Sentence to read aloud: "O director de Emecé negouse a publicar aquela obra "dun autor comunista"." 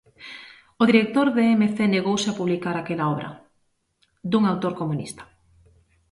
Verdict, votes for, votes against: accepted, 2, 0